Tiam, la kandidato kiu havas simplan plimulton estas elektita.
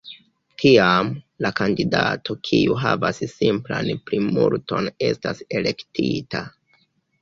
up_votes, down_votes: 2, 1